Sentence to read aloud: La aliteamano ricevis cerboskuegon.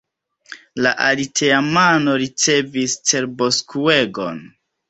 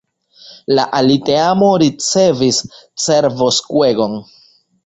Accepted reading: first